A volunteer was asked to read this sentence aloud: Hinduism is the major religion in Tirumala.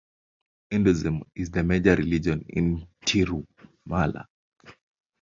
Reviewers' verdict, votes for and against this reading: rejected, 1, 2